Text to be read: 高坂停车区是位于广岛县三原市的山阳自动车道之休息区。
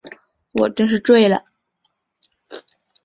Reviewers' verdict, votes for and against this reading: rejected, 0, 2